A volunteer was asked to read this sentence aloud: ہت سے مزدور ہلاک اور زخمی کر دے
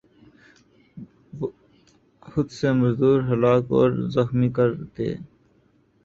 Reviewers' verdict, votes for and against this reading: rejected, 2, 2